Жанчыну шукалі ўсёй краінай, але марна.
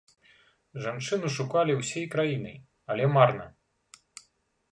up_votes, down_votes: 1, 2